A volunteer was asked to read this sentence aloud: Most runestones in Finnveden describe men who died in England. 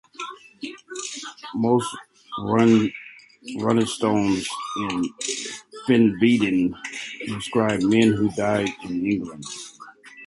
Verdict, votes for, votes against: rejected, 0, 2